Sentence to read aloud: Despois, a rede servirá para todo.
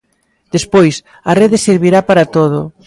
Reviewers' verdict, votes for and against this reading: accepted, 2, 0